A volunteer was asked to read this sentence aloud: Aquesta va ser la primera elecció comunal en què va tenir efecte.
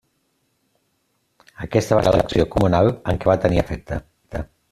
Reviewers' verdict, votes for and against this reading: rejected, 0, 2